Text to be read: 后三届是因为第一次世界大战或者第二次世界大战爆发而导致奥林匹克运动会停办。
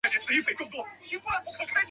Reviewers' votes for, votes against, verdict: 0, 2, rejected